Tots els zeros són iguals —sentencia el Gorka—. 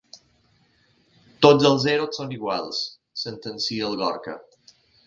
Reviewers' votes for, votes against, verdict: 2, 1, accepted